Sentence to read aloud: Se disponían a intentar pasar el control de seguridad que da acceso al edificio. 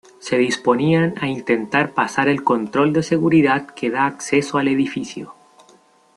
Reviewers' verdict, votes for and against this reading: accepted, 2, 0